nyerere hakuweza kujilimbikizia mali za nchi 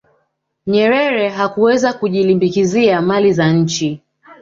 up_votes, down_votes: 0, 2